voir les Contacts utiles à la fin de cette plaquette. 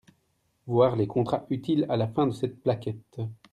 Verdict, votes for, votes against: rejected, 0, 2